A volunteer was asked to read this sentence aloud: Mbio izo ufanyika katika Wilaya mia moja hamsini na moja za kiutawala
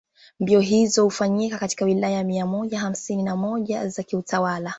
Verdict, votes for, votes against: accepted, 2, 0